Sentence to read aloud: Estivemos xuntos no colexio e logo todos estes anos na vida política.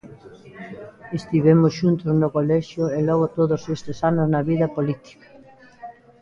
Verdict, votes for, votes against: rejected, 1, 2